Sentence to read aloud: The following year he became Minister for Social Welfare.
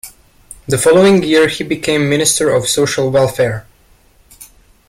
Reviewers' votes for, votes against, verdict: 0, 2, rejected